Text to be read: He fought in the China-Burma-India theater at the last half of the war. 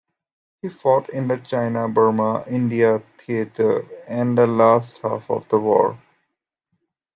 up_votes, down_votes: 0, 2